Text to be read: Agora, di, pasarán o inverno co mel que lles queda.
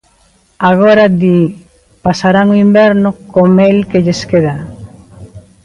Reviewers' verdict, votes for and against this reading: rejected, 1, 2